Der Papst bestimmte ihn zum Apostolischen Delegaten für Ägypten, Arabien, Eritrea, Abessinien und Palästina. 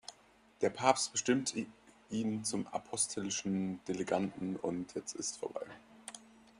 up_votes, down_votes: 0, 2